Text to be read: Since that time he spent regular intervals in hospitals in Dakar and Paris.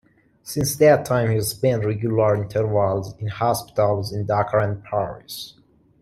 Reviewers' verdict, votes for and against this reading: accepted, 2, 1